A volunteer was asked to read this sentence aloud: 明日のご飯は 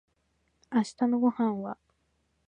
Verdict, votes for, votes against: rejected, 1, 2